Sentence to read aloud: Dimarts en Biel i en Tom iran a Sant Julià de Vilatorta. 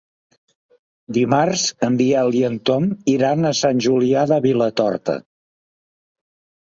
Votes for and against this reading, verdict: 3, 0, accepted